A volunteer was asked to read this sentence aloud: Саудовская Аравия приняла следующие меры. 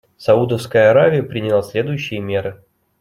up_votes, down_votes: 2, 0